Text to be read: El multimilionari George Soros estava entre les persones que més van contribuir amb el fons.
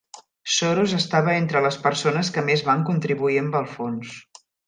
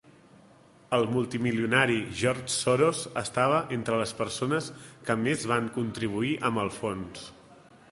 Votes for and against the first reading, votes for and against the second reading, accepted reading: 0, 2, 3, 0, second